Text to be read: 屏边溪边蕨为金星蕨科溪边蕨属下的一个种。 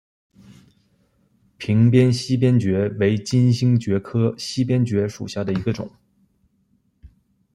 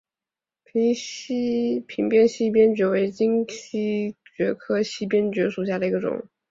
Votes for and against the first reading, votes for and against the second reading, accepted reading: 2, 0, 0, 3, first